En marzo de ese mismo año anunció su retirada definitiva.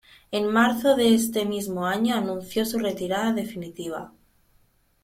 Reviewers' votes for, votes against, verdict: 1, 2, rejected